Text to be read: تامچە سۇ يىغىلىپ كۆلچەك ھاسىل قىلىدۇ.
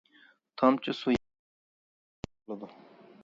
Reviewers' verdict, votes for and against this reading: rejected, 0, 2